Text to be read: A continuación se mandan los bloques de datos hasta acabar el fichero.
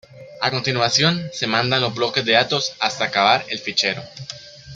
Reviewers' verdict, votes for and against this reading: rejected, 1, 2